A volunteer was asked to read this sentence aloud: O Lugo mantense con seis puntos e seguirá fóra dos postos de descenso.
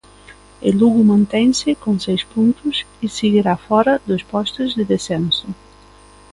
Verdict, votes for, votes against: rejected, 0, 2